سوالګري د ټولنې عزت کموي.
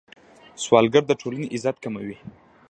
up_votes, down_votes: 1, 2